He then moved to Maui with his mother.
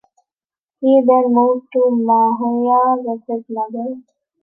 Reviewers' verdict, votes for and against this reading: rejected, 0, 2